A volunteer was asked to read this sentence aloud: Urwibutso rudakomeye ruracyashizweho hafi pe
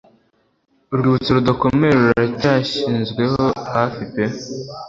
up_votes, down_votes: 1, 2